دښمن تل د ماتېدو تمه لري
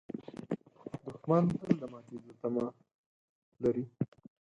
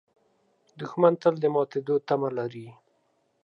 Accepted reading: second